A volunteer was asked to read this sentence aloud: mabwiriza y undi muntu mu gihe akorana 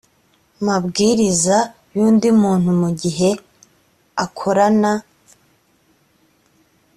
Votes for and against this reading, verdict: 2, 1, accepted